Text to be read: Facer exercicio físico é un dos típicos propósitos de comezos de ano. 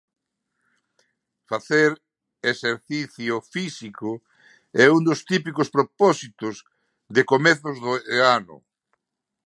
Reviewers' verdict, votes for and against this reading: rejected, 0, 2